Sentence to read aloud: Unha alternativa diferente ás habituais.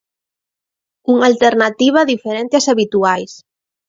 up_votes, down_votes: 3, 0